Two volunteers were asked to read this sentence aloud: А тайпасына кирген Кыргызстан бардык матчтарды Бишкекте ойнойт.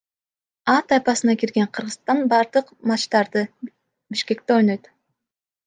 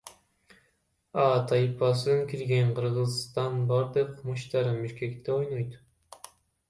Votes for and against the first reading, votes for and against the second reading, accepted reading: 2, 1, 1, 2, first